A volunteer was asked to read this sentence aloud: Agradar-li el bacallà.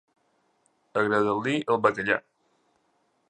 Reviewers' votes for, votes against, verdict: 1, 2, rejected